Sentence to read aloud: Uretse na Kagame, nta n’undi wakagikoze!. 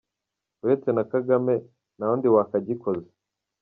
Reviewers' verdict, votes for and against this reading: rejected, 1, 2